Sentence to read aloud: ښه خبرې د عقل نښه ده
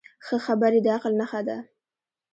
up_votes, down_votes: 2, 1